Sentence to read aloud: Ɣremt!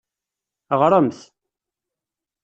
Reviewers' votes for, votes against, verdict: 2, 0, accepted